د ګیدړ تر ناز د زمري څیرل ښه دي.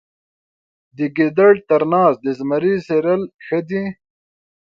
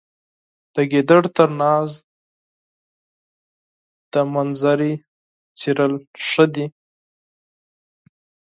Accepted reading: first